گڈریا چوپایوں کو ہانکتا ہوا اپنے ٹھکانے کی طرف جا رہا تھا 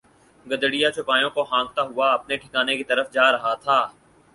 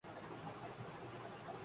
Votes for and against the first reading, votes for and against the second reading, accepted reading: 4, 0, 0, 2, first